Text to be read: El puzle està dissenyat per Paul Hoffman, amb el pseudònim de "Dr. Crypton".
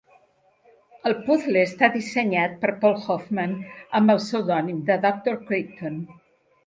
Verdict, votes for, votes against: accepted, 2, 1